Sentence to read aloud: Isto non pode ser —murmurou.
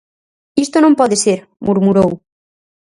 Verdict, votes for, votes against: accepted, 4, 0